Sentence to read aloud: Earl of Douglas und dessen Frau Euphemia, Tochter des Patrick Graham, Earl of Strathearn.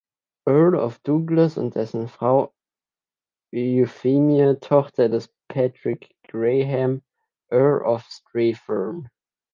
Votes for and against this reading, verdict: 1, 2, rejected